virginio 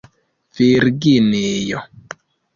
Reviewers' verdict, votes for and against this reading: rejected, 0, 2